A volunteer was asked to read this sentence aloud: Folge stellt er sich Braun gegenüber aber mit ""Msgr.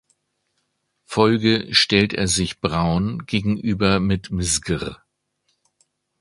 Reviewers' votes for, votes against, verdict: 0, 2, rejected